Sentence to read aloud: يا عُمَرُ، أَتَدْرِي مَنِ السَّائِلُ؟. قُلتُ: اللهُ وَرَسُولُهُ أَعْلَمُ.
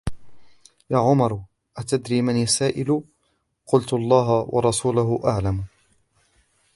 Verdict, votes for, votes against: rejected, 1, 2